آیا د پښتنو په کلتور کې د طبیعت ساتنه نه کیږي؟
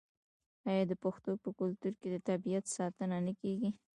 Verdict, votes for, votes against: accepted, 2, 0